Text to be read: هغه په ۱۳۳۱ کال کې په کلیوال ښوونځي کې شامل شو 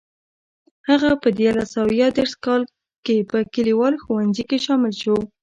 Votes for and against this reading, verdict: 0, 2, rejected